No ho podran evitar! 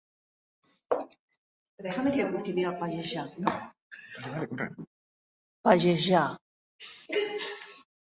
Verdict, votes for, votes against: rejected, 0, 2